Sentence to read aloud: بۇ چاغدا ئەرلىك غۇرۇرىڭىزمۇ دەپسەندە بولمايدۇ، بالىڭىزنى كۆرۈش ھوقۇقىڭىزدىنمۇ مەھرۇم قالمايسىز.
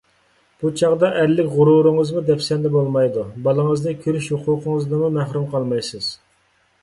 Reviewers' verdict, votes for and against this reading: accepted, 2, 0